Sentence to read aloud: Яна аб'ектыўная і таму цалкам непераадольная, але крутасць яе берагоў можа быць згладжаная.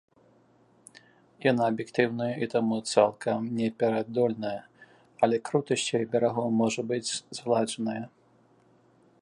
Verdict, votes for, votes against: accepted, 2, 0